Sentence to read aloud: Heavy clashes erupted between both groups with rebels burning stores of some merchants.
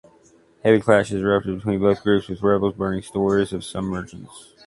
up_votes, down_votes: 1, 3